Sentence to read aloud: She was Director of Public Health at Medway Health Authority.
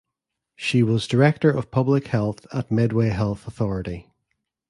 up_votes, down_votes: 2, 0